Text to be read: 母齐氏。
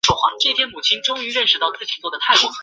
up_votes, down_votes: 0, 4